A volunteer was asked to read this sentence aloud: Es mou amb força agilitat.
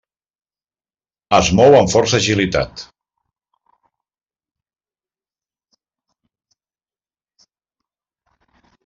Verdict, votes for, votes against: accepted, 3, 0